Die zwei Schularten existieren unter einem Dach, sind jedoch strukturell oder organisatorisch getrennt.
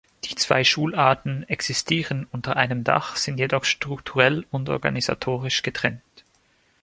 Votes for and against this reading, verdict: 0, 2, rejected